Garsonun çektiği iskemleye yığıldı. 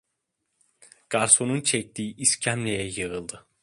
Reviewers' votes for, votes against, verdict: 2, 0, accepted